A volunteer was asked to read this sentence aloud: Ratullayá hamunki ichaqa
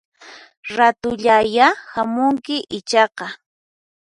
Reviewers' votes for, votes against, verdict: 4, 0, accepted